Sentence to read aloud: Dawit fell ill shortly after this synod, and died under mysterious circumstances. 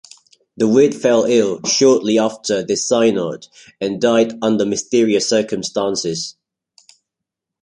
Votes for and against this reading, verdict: 2, 0, accepted